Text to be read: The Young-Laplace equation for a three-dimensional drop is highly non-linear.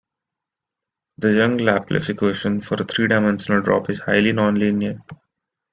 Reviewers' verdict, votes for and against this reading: rejected, 0, 2